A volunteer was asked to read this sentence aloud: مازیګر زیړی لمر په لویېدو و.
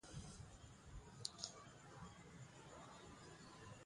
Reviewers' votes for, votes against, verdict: 1, 2, rejected